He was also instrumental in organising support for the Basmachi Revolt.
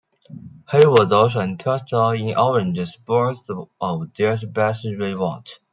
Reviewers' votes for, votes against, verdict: 0, 2, rejected